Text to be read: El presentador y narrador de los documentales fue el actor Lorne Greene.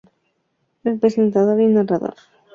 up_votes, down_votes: 0, 2